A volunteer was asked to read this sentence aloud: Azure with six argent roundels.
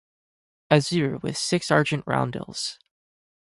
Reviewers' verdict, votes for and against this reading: accepted, 4, 0